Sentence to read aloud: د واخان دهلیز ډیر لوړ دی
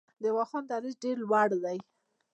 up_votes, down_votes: 1, 2